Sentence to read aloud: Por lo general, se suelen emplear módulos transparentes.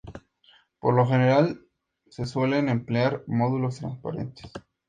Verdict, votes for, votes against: accepted, 2, 0